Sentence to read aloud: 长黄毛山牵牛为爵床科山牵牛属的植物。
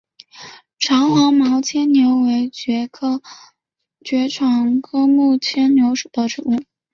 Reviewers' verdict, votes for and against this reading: rejected, 2, 5